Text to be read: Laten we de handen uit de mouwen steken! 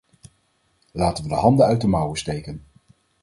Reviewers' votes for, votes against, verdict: 2, 4, rejected